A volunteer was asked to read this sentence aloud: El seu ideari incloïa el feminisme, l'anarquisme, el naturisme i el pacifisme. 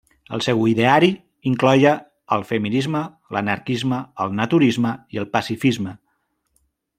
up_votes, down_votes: 0, 2